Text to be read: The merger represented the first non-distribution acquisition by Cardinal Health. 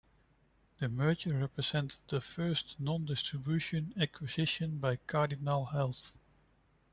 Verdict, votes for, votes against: accepted, 2, 0